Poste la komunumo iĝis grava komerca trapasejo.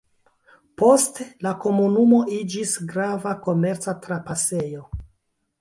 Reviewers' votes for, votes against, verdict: 0, 2, rejected